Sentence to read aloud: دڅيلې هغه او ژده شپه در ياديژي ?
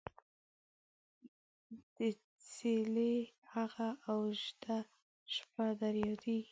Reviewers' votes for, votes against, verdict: 2, 3, rejected